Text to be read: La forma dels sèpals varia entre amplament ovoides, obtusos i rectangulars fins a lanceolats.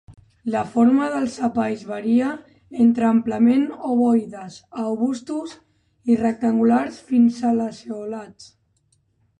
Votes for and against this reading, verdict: 1, 2, rejected